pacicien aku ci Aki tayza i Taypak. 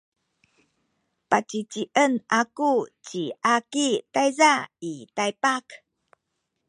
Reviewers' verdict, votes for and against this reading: accepted, 2, 0